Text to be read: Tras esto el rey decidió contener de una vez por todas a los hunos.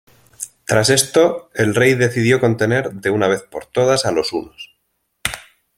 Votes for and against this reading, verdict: 2, 0, accepted